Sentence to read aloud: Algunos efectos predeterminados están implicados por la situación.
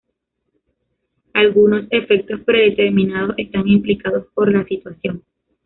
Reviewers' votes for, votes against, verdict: 2, 0, accepted